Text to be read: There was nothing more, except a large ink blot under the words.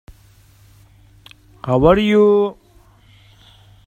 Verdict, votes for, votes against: rejected, 0, 2